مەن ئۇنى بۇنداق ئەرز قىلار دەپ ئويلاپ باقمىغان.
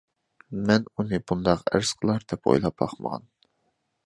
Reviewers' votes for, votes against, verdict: 2, 0, accepted